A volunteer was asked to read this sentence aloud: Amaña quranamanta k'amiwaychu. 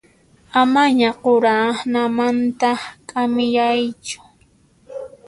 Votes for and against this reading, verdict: 0, 2, rejected